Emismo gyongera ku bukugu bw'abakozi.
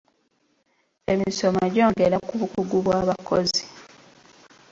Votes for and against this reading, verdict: 1, 2, rejected